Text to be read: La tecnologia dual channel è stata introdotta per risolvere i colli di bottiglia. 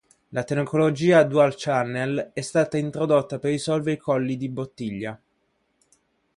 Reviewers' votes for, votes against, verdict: 1, 2, rejected